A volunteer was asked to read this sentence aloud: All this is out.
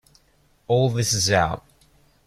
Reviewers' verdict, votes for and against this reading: accepted, 3, 0